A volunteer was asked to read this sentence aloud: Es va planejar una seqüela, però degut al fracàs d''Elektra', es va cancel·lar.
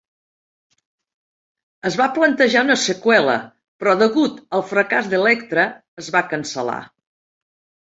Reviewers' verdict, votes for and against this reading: rejected, 1, 2